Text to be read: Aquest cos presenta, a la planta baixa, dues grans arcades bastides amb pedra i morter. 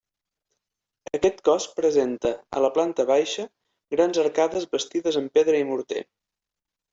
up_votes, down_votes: 0, 2